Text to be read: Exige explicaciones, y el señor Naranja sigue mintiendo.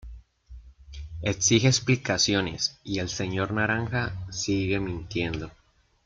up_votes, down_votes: 1, 2